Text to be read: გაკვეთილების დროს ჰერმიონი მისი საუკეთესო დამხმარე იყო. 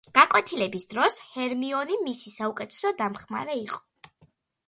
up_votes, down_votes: 2, 0